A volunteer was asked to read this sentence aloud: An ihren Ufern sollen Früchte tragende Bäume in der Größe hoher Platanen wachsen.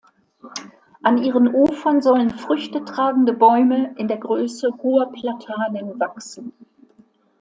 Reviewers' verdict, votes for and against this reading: accepted, 2, 0